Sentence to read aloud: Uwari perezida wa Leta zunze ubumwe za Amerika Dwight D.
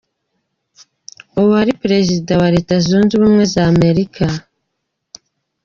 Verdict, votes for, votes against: rejected, 1, 2